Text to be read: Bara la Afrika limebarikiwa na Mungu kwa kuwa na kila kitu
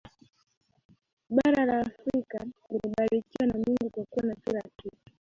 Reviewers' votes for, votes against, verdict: 2, 1, accepted